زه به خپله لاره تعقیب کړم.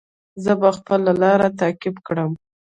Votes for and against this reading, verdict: 1, 2, rejected